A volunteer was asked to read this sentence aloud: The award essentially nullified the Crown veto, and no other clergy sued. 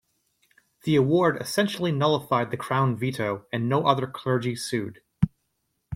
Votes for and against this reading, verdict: 2, 0, accepted